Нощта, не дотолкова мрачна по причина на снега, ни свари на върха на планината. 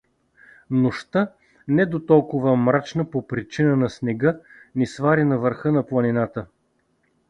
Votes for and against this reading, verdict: 2, 0, accepted